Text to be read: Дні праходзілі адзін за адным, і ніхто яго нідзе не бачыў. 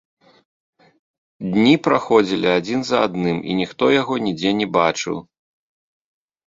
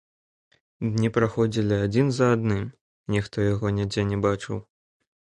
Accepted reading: first